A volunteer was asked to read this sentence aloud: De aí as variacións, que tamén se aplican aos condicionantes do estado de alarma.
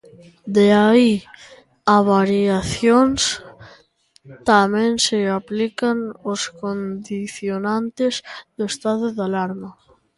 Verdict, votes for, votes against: rejected, 0, 2